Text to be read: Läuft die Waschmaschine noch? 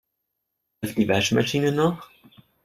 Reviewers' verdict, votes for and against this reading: rejected, 0, 2